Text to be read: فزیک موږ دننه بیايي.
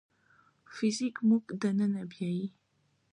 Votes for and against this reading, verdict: 2, 1, accepted